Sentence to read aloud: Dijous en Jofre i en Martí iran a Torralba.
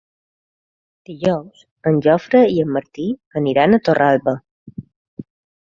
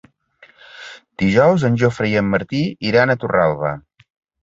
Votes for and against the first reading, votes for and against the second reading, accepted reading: 0, 2, 2, 0, second